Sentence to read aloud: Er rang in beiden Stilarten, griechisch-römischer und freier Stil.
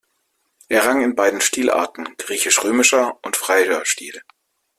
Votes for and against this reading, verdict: 1, 2, rejected